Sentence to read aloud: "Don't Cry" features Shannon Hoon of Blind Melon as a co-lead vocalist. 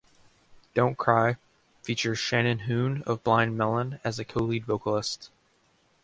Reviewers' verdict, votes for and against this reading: accepted, 2, 0